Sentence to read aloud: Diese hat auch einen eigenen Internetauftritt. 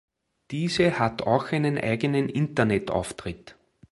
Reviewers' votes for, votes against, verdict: 2, 0, accepted